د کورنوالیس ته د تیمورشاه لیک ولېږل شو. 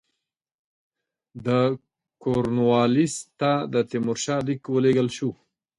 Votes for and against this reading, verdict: 2, 0, accepted